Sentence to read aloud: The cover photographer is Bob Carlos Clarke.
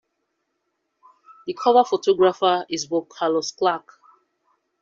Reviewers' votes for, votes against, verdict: 2, 0, accepted